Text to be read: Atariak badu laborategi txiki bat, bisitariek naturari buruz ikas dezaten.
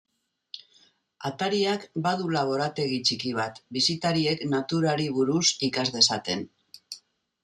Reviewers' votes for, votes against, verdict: 1, 2, rejected